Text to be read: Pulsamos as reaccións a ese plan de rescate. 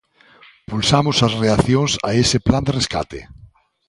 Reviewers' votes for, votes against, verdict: 2, 0, accepted